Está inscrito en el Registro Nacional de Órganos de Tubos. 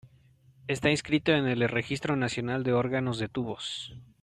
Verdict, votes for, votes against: accepted, 2, 1